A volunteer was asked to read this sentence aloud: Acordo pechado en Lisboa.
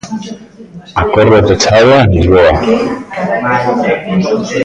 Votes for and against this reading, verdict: 0, 2, rejected